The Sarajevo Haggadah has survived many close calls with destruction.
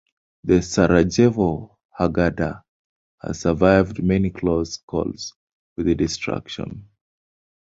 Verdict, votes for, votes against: accepted, 2, 1